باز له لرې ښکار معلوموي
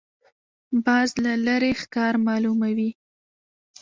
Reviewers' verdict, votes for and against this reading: accepted, 3, 0